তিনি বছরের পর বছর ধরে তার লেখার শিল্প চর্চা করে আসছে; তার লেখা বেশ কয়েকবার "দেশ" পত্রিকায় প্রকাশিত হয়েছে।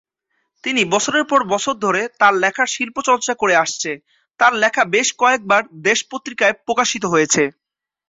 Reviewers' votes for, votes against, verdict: 2, 0, accepted